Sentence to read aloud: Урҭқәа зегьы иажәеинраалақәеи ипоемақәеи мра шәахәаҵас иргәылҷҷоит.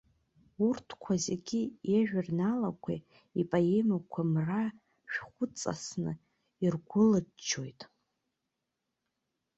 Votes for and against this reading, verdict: 1, 2, rejected